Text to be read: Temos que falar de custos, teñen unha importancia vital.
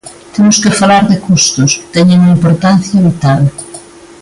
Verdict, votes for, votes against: accepted, 2, 0